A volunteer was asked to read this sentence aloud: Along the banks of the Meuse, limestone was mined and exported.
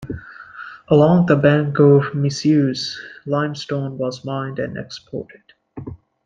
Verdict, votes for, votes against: rejected, 1, 2